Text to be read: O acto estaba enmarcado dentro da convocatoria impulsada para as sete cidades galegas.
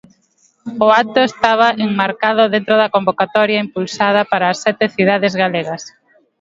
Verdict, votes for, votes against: rejected, 1, 2